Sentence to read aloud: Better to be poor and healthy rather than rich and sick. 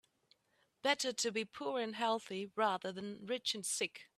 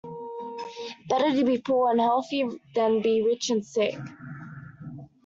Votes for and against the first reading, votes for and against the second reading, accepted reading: 2, 0, 0, 2, first